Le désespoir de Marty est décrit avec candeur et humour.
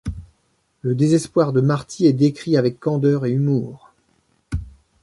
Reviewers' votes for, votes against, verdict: 2, 0, accepted